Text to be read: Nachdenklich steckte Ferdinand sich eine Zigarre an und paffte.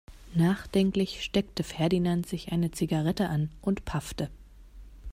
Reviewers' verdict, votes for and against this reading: rejected, 0, 2